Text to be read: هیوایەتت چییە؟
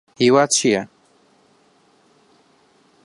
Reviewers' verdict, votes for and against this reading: rejected, 0, 2